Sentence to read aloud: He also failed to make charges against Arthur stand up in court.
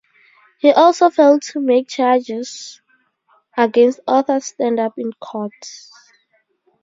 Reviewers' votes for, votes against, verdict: 4, 0, accepted